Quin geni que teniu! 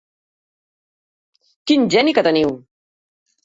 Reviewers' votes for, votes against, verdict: 4, 0, accepted